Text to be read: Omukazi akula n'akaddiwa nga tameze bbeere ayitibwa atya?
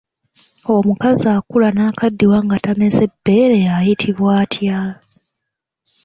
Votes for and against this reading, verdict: 2, 1, accepted